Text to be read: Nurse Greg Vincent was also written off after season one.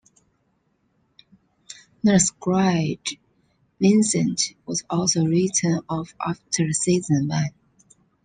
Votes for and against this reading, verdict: 1, 2, rejected